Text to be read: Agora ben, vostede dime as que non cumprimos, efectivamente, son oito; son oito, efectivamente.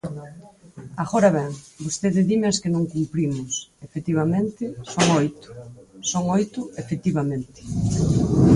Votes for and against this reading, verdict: 4, 2, accepted